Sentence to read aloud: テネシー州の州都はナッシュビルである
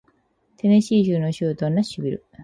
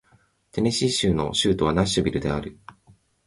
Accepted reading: second